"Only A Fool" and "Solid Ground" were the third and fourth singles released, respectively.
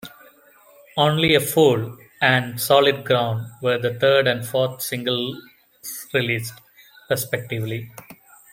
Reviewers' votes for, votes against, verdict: 1, 2, rejected